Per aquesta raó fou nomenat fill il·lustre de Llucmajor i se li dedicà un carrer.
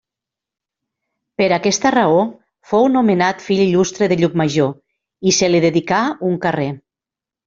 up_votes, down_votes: 2, 0